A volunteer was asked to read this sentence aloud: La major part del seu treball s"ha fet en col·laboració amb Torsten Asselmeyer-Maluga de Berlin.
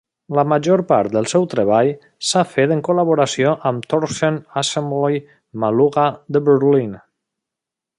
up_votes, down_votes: 0, 2